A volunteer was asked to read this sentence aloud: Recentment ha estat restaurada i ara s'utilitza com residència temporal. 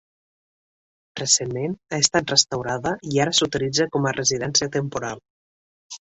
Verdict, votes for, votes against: rejected, 1, 2